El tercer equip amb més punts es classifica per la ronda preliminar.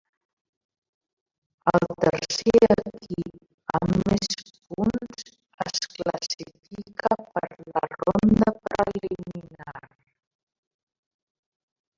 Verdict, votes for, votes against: rejected, 0, 2